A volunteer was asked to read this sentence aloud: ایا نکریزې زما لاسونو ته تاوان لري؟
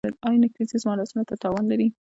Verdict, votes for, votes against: rejected, 1, 2